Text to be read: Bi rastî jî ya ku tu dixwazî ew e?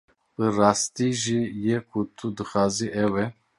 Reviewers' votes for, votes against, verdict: 0, 2, rejected